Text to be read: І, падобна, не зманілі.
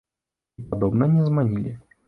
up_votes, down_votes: 1, 2